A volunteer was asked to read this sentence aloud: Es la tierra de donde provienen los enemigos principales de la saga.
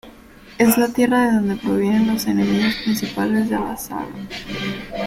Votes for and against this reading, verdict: 2, 1, accepted